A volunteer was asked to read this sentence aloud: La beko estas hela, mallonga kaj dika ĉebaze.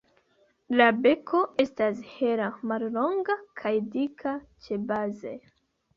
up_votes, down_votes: 2, 1